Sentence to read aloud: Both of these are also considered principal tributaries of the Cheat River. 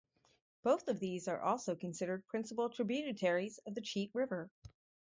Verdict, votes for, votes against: rejected, 0, 2